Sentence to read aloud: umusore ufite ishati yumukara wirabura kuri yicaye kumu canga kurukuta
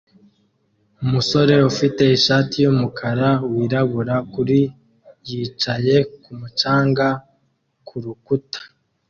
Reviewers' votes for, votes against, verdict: 2, 0, accepted